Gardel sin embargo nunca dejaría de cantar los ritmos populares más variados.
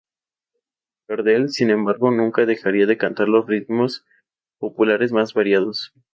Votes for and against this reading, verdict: 2, 0, accepted